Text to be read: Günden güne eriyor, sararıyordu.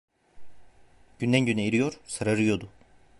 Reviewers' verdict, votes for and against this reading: rejected, 1, 2